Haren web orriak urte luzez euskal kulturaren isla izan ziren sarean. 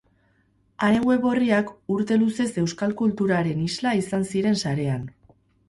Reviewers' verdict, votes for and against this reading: accepted, 24, 0